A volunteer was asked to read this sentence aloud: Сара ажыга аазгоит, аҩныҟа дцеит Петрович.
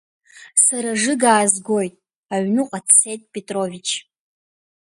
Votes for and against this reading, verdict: 1, 2, rejected